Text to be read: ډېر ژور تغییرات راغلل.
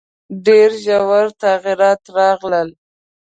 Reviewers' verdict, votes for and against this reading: accepted, 2, 0